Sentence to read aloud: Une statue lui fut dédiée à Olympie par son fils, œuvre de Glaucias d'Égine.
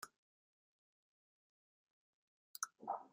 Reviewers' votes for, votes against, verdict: 0, 2, rejected